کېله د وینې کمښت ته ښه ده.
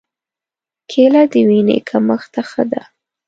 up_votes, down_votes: 2, 0